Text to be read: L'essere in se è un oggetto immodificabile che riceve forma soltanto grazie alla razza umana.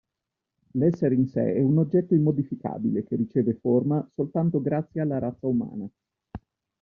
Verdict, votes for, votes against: accepted, 2, 0